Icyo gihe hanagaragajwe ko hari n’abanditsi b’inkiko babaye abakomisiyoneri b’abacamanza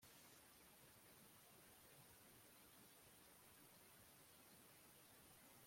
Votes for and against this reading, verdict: 0, 2, rejected